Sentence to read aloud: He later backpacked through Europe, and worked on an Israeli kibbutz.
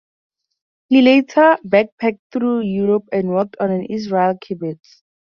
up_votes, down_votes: 2, 2